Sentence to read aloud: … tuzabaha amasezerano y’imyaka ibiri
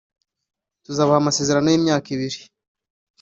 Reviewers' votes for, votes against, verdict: 2, 0, accepted